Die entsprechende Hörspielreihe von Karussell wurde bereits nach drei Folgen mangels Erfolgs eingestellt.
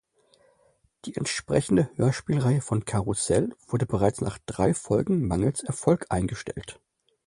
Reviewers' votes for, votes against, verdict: 0, 2, rejected